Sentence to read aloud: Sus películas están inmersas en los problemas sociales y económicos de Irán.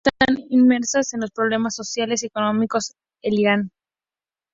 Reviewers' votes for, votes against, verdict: 0, 2, rejected